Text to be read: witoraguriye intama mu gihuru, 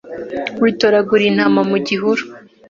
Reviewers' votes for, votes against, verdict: 2, 0, accepted